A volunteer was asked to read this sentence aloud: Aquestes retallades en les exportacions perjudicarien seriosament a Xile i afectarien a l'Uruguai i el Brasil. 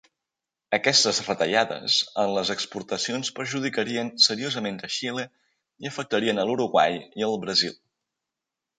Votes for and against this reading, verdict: 3, 0, accepted